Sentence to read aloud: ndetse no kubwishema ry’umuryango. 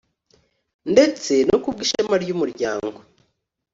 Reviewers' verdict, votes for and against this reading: accepted, 2, 0